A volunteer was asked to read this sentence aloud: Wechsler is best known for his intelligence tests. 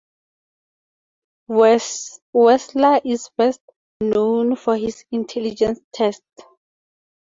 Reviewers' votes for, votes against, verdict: 0, 2, rejected